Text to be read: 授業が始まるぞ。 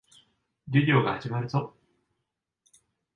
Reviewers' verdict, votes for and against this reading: rejected, 1, 2